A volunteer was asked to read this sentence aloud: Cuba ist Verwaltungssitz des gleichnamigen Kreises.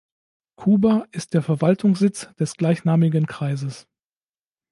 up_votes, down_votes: 1, 2